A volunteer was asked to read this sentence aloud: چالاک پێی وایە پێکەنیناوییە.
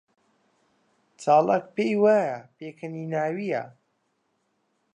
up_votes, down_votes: 0, 2